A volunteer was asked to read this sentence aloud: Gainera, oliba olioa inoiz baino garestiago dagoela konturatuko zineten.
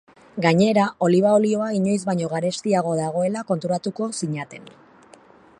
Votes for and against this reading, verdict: 1, 2, rejected